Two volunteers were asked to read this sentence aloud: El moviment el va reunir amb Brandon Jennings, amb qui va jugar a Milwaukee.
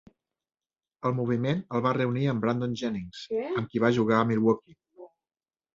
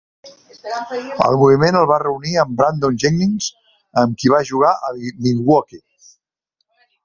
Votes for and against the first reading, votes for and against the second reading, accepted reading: 3, 1, 1, 2, first